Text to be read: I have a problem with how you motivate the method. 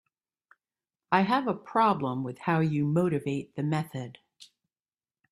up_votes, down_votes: 2, 0